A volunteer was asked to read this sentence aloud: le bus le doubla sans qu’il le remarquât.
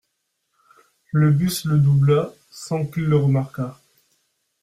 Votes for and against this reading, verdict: 3, 0, accepted